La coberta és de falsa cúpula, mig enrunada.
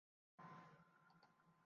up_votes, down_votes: 0, 2